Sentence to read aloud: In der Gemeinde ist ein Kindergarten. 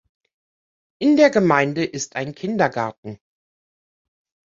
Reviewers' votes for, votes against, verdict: 2, 0, accepted